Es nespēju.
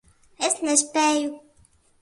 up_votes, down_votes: 2, 0